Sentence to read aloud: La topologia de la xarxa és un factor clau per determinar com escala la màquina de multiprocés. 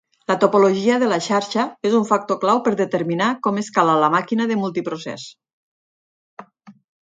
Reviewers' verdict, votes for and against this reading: accepted, 8, 0